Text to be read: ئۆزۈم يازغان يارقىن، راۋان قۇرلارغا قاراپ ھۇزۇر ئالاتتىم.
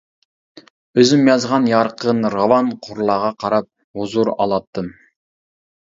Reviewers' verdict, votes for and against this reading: accepted, 2, 0